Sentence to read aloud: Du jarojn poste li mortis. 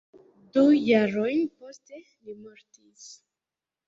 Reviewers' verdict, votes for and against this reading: rejected, 0, 2